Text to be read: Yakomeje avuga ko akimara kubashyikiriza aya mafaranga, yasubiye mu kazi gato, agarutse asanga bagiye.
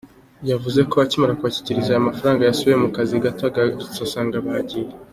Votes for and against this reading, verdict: 2, 0, accepted